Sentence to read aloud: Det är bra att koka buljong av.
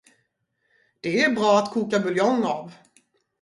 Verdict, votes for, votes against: rejected, 0, 2